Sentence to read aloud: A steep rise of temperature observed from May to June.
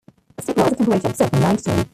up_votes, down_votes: 0, 2